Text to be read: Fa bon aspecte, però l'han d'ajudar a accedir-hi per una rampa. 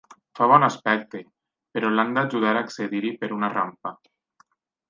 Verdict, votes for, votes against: accepted, 10, 0